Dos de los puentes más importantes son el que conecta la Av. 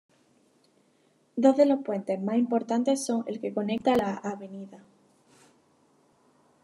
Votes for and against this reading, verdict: 2, 1, accepted